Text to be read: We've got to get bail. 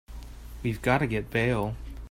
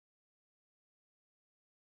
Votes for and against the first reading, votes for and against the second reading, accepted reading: 3, 0, 0, 2, first